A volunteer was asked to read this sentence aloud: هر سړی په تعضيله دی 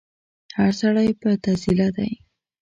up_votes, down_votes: 1, 2